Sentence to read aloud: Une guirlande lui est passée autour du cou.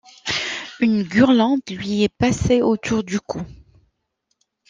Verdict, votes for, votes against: rejected, 1, 2